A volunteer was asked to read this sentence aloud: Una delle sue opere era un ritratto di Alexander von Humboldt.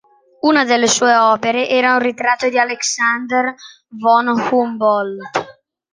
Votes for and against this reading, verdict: 2, 0, accepted